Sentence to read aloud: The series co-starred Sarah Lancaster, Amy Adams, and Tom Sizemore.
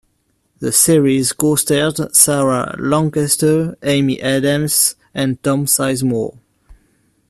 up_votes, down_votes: 2, 0